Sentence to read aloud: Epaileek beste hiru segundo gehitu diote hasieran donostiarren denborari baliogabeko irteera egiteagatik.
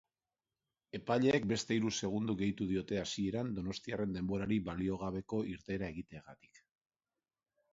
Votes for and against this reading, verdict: 3, 0, accepted